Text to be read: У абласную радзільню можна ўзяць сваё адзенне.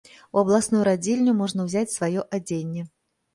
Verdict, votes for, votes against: accepted, 2, 0